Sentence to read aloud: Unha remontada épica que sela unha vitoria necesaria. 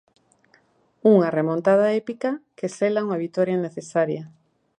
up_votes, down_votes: 2, 1